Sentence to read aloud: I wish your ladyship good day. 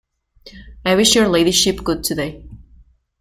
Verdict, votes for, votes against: rejected, 0, 2